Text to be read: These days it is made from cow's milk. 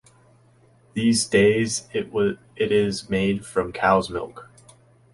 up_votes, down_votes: 0, 2